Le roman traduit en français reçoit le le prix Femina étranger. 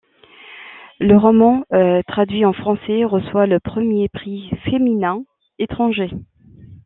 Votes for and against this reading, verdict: 1, 2, rejected